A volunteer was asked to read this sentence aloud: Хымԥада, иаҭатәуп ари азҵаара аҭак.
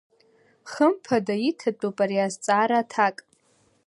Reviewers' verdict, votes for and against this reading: rejected, 1, 2